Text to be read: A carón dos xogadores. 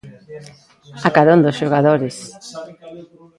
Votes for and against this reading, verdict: 0, 2, rejected